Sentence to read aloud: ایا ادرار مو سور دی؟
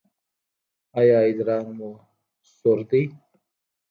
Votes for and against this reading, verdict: 2, 1, accepted